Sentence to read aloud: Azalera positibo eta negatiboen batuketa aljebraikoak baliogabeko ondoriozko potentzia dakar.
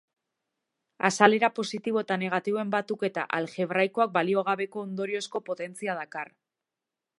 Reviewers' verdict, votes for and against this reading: accepted, 2, 0